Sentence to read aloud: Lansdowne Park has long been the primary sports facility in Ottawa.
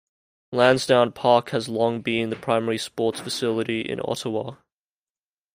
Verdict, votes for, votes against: accepted, 2, 0